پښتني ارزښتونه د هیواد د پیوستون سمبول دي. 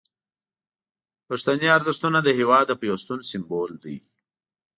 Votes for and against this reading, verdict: 2, 0, accepted